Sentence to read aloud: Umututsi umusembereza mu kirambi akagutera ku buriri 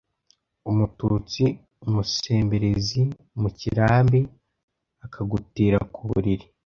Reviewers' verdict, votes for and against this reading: rejected, 1, 2